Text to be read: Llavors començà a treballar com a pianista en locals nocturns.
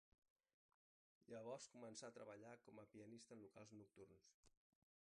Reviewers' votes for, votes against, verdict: 0, 3, rejected